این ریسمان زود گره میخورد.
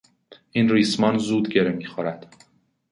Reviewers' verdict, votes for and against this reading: accepted, 2, 0